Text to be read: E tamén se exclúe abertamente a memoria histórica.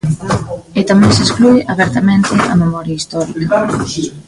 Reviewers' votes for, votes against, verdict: 1, 2, rejected